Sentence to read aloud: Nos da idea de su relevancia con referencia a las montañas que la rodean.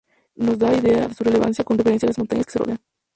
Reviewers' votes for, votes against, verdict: 0, 2, rejected